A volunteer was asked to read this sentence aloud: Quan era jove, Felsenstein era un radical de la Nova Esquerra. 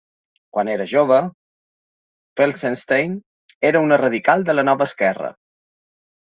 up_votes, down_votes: 0, 2